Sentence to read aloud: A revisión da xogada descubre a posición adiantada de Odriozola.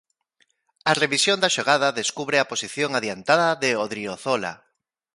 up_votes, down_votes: 2, 0